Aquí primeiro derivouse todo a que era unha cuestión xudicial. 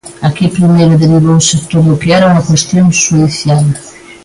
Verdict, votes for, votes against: rejected, 0, 2